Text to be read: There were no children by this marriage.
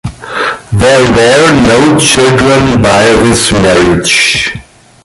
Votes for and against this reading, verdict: 2, 1, accepted